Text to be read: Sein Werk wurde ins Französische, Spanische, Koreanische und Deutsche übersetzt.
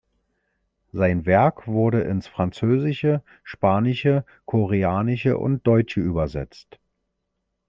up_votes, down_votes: 1, 2